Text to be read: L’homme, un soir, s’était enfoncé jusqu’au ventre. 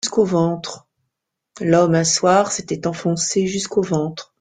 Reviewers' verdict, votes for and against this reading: rejected, 1, 2